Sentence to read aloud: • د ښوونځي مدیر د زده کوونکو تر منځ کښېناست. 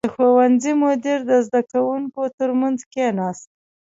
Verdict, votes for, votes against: accepted, 2, 0